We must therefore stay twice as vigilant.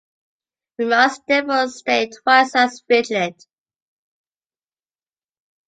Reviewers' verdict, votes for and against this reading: accepted, 2, 0